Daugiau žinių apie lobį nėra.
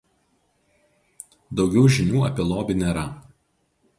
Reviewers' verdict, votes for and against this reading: accepted, 2, 0